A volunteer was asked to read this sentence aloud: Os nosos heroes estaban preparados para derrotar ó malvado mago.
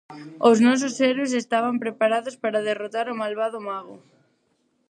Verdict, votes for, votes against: rejected, 0, 4